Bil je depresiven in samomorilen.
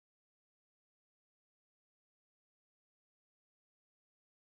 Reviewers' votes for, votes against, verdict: 0, 2, rejected